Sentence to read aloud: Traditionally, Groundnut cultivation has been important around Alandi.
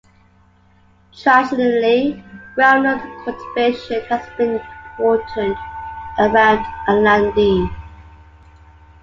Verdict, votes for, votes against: rejected, 1, 2